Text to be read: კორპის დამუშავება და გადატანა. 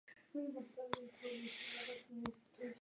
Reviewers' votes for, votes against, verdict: 1, 2, rejected